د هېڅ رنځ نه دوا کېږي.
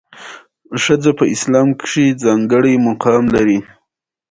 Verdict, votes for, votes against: rejected, 1, 2